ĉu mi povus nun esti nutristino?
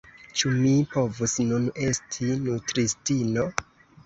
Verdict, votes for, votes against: accepted, 3, 0